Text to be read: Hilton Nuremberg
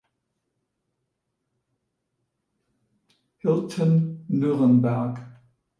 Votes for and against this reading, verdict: 1, 2, rejected